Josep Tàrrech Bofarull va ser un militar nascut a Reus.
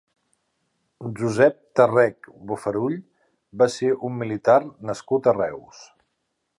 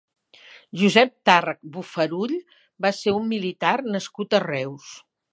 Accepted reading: second